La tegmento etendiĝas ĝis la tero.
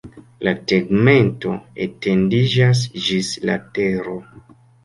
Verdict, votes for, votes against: accepted, 2, 0